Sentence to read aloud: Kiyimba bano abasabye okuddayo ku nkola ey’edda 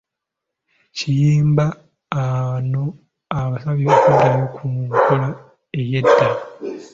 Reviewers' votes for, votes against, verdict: 1, 2, rejected